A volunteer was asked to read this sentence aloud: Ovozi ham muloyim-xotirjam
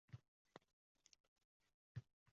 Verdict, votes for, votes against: rejected, 0, 2